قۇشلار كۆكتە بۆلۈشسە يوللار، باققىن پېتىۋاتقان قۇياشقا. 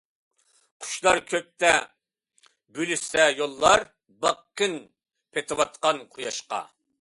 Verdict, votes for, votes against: accepted, 2, 0